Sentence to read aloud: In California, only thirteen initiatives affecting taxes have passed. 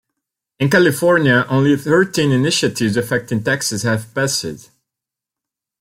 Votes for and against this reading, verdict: 1, 3, rejected